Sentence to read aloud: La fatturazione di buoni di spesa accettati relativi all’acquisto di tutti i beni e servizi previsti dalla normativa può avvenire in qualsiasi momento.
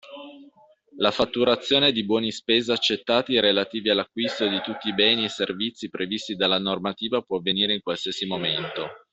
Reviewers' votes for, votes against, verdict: 2, 0, accepted